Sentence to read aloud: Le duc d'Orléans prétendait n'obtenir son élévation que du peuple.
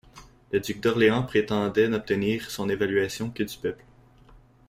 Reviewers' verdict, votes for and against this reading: rejected, 1, 2